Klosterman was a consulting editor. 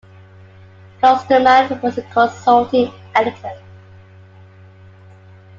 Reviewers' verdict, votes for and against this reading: accepted, 4, 0